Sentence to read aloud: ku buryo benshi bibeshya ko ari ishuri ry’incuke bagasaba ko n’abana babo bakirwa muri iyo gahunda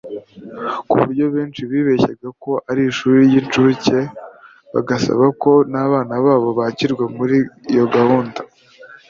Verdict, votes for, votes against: rejected, 1, 2